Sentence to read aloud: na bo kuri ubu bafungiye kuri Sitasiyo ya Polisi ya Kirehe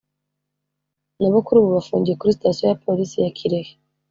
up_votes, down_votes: 2, 0